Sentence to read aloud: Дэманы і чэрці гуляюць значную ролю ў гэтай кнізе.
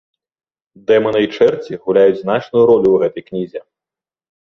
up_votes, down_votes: 2, 0